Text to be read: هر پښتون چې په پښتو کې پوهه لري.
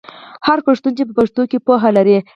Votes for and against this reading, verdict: 4, 0, accepted